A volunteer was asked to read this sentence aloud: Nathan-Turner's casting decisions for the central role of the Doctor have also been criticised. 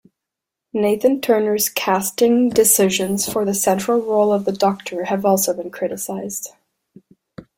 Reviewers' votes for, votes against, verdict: 2, 0, accepted